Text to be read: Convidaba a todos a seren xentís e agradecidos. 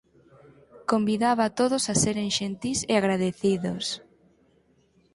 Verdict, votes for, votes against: accepted, 4, 2